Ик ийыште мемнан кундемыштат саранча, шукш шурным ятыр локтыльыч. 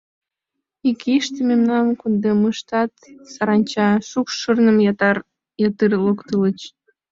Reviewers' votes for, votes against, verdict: 0, 2, rejected